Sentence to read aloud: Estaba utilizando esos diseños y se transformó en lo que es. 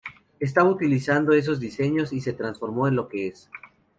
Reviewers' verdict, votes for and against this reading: accepted, 2, 0